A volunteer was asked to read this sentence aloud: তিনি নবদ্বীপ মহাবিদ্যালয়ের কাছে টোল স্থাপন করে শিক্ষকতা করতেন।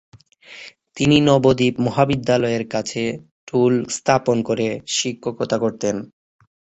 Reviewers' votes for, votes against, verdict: 3, 6, rejected